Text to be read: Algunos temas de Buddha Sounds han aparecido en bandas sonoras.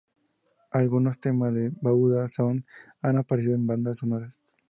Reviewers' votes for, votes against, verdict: 2, 0, accepted